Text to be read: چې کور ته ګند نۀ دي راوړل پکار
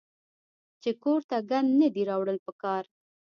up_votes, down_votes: 1, 2